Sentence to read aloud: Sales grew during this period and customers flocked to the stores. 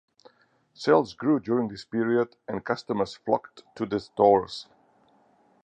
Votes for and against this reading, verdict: 4, 0, accepted